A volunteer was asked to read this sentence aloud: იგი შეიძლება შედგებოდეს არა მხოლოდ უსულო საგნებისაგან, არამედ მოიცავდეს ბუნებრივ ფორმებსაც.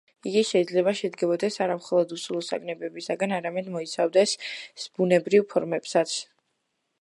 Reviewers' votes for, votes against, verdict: 0, 2, rejected